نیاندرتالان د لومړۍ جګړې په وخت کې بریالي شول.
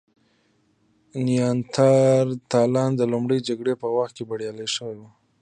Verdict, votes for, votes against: accepted, 2, 0